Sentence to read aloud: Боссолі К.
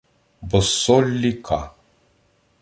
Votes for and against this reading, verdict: 2, 0, accepted